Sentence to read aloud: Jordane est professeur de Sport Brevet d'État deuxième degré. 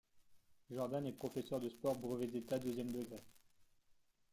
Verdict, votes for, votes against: accepted, 2, 0